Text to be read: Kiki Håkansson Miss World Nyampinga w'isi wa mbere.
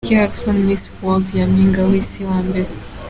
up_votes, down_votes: 3, 0